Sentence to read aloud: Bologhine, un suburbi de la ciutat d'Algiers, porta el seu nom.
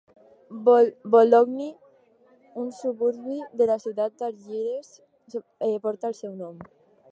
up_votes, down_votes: 0, 2